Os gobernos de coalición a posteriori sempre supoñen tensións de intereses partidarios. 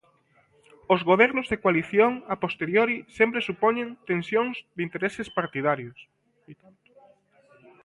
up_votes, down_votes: 2, 0